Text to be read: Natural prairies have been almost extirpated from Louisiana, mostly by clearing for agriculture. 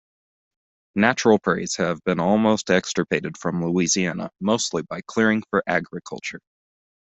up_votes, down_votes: 2, 0